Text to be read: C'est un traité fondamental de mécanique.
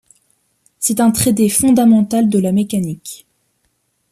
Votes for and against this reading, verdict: 0, 2, rejected